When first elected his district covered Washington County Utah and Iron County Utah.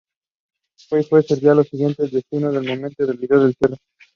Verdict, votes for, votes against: rejected, 1, 3